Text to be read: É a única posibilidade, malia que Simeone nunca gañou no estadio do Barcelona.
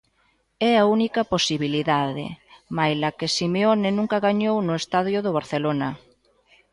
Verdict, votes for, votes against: rejected, 0, 2